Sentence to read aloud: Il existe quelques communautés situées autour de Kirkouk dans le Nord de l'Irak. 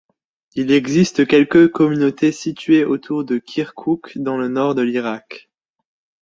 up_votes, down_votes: 2, 0